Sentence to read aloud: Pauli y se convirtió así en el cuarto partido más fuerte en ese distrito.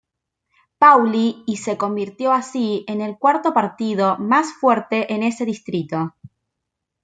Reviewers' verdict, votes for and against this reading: accepted, 2, 0